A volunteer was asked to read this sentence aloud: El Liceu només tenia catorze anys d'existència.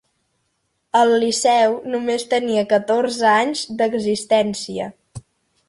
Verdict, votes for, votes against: accepted, 3, 0